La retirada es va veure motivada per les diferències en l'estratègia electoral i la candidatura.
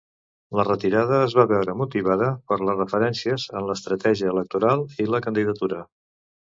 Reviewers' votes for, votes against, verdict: 1, 2, rejected